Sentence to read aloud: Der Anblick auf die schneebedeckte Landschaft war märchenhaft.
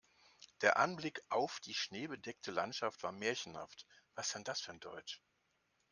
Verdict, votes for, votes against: rejected, 0, 2